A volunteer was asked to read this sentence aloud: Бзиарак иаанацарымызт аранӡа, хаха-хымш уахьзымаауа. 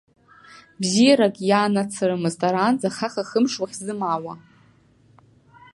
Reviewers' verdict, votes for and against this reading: rejected, 1, 2